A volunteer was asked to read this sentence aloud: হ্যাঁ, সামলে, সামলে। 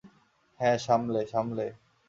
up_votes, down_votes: 2, 0